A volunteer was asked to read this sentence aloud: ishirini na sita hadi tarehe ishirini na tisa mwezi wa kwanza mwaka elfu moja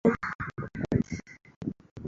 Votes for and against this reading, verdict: 0, 2, rejected